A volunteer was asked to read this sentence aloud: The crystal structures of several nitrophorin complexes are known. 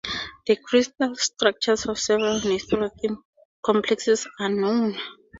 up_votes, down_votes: 4, 0